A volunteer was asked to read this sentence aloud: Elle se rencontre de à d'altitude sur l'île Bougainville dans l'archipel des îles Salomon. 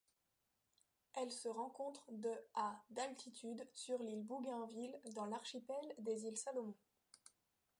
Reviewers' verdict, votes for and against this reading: rejected, 1, 2